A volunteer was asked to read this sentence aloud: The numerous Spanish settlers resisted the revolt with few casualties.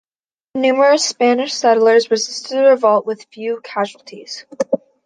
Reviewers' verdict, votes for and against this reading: rejected, 0, 2